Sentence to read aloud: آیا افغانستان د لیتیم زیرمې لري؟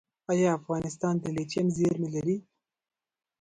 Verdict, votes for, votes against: rejected, 1, 2